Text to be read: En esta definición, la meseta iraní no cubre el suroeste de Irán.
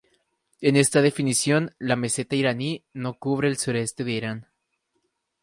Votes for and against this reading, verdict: 4, 0, accepted